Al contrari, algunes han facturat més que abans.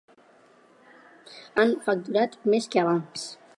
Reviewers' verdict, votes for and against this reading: rejected, 0, 2